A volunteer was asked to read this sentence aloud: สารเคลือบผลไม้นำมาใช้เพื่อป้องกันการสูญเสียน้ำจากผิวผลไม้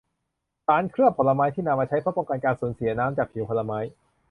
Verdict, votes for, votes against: rejected, 0, 2